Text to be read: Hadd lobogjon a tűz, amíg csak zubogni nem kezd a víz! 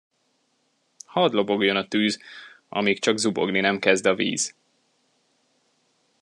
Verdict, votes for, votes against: accepted, 2, 0